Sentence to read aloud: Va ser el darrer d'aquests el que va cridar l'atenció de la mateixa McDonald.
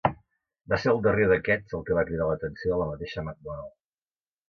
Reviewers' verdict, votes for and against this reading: rejected, 0, 2